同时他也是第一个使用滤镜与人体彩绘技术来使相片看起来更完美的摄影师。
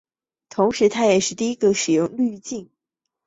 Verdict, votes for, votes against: rejected, 1, 4